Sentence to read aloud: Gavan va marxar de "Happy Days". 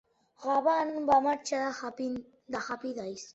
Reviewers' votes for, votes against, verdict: 0, 2, rejected